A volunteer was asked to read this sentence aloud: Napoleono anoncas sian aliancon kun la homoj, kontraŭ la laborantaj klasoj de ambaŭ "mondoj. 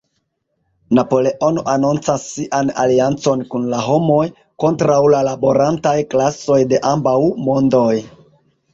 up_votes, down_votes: 2, 1